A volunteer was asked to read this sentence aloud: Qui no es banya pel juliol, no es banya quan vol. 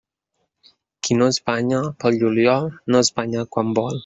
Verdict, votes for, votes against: rejected, 0, 2